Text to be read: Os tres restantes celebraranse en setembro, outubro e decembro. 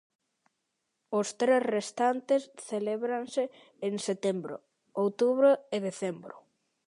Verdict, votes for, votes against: rejected, 0, 2